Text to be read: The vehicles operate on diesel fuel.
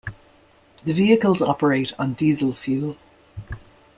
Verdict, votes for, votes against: accepted, 2, 0